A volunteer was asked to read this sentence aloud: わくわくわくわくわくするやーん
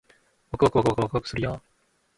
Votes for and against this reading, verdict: 1, 2, rejected